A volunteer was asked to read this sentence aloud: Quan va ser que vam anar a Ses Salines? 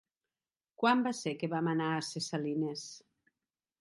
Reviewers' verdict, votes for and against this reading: accepted, 3, 0